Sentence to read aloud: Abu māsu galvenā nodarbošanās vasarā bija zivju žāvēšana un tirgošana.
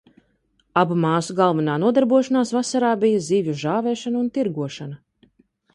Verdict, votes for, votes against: accepted, 2, 0